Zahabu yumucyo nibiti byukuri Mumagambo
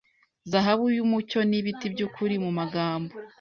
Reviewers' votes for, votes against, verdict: 2, 0, accepted